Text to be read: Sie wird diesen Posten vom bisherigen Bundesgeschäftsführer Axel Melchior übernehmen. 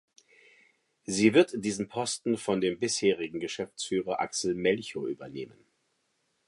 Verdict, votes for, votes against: rejected, 1, 2